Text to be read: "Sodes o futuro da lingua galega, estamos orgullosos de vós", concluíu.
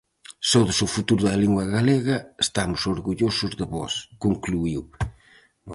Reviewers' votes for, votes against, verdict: 4, 0, accepted